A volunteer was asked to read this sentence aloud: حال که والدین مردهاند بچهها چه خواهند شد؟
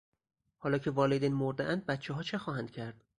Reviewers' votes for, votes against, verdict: 2, 2, rejected